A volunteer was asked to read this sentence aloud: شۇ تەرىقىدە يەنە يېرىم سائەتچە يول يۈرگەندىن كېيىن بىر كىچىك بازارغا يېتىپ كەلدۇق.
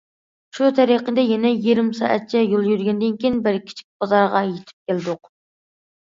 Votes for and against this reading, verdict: 2, 0, accepted